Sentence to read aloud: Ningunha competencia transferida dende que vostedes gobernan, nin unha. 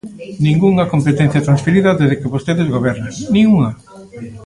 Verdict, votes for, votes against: rejected, 1, 2